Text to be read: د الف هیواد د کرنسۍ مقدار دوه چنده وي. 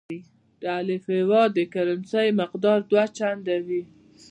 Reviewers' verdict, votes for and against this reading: rejected, 1, 2